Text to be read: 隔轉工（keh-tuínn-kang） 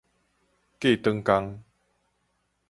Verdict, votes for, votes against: rejected, 2, 2